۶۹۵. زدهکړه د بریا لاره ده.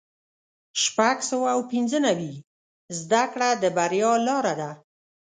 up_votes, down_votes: 0, 2